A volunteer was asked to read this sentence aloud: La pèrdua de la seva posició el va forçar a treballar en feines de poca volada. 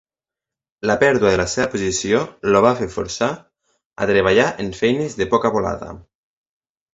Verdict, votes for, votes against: rejected, 1, 2